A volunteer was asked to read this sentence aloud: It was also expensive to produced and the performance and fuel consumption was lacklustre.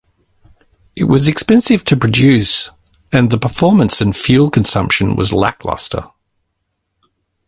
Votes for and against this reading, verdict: 0, 2, rejected